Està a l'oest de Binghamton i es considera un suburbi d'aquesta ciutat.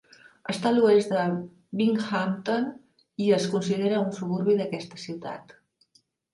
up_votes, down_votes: 2, 0